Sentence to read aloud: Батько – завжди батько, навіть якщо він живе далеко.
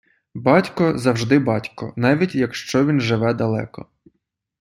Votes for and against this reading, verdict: 2, 0, accepted